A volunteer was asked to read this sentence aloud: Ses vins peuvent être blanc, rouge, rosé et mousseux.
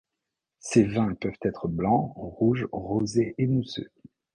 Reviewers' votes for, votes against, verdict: 2, 0, accepted